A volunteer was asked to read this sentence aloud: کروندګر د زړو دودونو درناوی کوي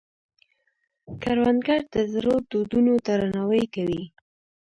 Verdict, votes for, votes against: rejected, 0, 2